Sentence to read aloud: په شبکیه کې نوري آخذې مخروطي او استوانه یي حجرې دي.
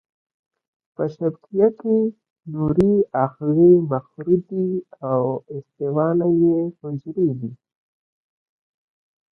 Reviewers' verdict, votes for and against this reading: rejected, 1, 2